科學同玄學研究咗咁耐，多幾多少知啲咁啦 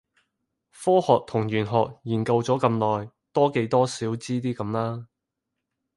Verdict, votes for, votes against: accepted, 2, 0